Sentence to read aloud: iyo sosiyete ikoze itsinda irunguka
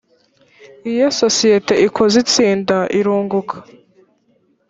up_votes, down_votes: 1, 2